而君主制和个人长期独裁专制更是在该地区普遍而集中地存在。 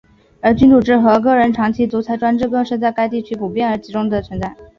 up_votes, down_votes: 1, 3